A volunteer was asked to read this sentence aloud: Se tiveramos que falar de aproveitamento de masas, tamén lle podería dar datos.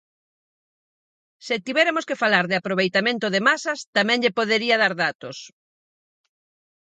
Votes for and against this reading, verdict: 0, 4, rejected